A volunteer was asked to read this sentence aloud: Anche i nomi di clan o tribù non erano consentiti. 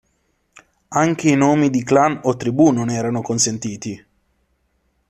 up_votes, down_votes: 3, 0